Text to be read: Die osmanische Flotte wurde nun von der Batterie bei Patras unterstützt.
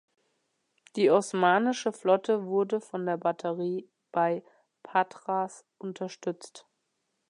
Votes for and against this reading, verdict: 0, 2, rejected